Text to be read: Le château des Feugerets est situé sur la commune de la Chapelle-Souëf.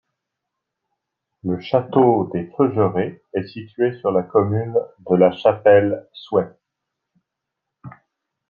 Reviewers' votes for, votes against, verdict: 3, 0, accepted